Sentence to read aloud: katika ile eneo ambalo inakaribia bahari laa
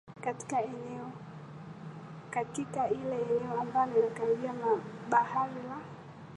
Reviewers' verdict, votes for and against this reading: accepted, 2, 1